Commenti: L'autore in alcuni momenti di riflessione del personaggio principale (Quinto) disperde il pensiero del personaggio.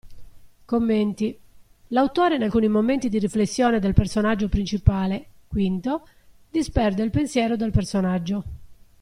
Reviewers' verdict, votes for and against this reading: accepted, 2, 0